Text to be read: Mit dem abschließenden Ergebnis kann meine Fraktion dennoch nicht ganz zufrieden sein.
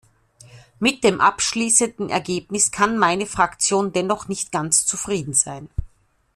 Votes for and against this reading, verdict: 2, 0, accepted